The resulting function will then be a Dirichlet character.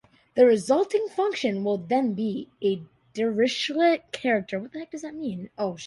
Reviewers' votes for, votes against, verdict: 0, 2, rejected